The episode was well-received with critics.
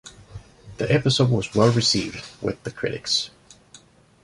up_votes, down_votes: 1, 2